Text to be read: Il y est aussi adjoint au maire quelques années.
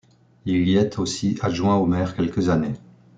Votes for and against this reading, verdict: 2, 0, accepted